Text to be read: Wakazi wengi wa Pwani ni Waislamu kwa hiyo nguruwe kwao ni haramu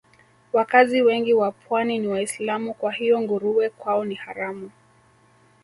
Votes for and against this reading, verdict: 1, 2, rejected